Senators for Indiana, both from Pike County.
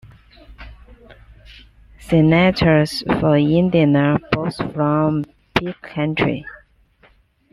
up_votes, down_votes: 1, 2